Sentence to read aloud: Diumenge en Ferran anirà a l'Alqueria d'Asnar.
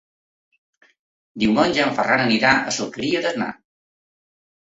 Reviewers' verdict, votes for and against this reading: accepted, 2, 1